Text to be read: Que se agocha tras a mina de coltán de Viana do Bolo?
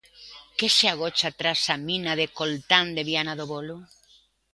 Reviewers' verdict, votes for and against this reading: accepted, 2, 0